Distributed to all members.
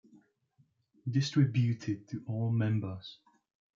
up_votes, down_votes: 1, 2